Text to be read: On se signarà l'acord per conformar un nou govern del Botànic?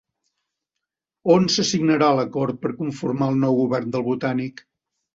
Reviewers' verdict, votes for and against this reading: accepted, 2, 0